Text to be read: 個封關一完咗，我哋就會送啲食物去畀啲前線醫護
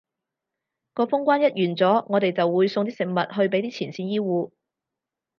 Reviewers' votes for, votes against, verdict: 2, 0, accepted